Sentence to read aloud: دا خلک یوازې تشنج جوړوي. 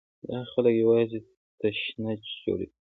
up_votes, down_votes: 2, 1